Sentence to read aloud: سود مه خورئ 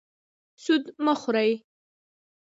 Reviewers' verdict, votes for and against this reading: accepted, 2, 0